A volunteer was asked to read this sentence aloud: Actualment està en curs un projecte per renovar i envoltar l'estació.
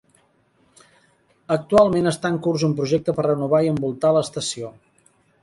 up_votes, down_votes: 3, 0